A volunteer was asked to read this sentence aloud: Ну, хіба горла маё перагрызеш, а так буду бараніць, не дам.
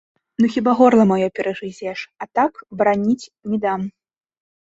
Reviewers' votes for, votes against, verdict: 0, 2, rejected